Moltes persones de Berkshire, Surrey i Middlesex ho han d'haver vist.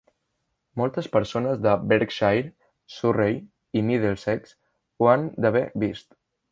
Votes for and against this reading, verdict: 3, 1, accepted